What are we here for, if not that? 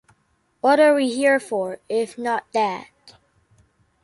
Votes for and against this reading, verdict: 2, 0, accepted